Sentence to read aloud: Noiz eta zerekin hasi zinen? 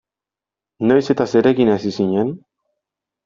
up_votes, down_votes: 2, 0